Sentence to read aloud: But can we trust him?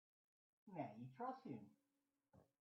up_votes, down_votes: 0, 2